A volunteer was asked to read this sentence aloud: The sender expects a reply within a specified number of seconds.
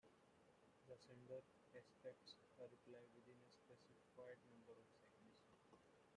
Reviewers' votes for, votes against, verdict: 0, 2, rejected